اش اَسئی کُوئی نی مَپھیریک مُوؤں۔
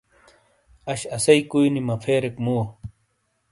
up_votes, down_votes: 2, 0